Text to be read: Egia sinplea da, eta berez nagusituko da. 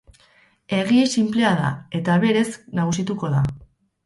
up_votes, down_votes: 2, 2